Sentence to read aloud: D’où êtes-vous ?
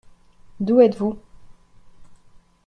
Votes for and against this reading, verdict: 3, 0, accepted